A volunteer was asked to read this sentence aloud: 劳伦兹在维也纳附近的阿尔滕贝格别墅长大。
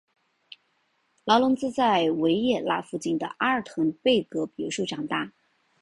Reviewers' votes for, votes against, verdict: 7, 0, accepted